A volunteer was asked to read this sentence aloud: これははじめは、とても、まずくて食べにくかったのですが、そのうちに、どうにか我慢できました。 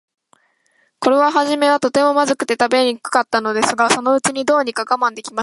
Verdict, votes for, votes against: rejected, 0, 2